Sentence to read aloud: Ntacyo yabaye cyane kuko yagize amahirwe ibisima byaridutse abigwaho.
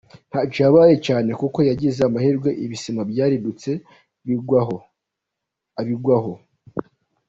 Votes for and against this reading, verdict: 0, 2, rejected